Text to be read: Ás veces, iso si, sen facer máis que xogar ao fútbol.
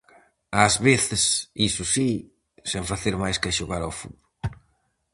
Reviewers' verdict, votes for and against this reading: rejected, 2, 2